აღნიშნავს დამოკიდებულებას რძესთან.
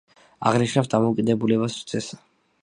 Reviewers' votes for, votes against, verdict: 2, 1, accepted